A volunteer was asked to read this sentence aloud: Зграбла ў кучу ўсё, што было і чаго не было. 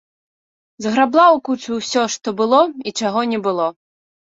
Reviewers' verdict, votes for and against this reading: accepted, 2, 0